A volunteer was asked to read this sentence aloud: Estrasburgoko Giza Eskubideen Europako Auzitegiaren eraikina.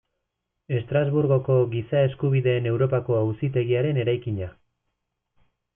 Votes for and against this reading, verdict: 3, 0, accepted